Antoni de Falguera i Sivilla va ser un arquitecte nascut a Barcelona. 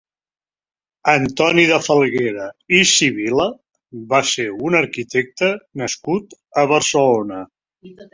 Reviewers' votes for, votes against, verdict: 0, 2, rejected